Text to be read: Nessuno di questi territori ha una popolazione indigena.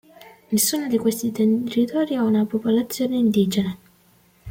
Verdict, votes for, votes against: rejected, 1, 2